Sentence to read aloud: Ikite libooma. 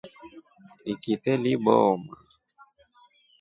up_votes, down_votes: 2, 0